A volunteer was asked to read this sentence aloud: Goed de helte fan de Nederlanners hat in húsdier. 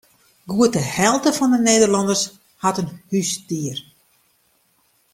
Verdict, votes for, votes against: accepted, 2, 0